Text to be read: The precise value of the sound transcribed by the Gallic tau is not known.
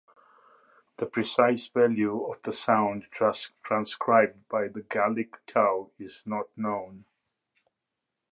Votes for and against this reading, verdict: 0, 2, rejected